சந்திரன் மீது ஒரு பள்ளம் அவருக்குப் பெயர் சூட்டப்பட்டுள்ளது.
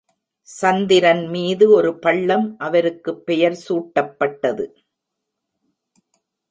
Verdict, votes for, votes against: rejected, 1, 2